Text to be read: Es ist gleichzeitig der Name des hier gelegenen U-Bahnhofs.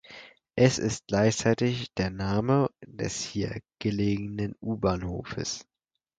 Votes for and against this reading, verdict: 2, 4, rejected